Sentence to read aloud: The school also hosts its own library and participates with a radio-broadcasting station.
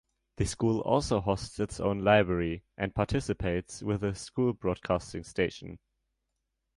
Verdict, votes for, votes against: rejected, 0, 2